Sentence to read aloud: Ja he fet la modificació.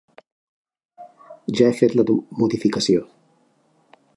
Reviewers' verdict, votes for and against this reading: rejected, 1, 2